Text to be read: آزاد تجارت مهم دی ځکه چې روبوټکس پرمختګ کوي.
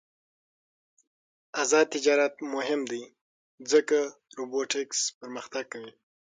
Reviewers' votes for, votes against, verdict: 3, 6, rejected